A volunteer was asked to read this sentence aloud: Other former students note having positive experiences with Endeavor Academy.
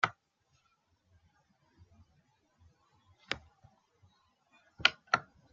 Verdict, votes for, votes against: rejected, 0, 3